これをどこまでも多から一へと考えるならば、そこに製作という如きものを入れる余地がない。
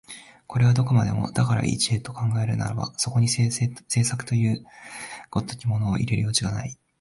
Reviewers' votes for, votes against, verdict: 1, 2, rejected